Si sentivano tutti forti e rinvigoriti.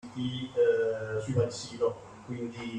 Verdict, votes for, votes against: rejected, 0, 2